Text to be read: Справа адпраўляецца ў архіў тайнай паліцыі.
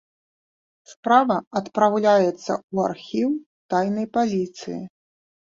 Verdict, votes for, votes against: accepted, 3, 0